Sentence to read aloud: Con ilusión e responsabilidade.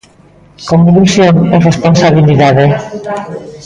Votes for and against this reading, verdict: 1, 2, rejected